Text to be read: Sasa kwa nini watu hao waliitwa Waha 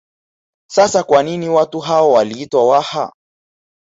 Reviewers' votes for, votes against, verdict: 0, 2, rejected